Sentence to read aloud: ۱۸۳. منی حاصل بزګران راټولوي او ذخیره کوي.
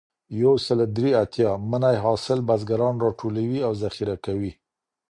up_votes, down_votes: 0, 2